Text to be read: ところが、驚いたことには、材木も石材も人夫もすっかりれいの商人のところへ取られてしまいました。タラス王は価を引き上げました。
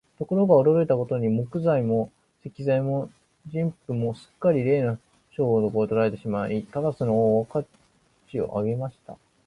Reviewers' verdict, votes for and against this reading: rejected, 1, 5